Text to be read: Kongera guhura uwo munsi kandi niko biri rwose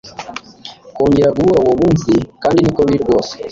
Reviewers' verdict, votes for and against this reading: accepted, 3, 0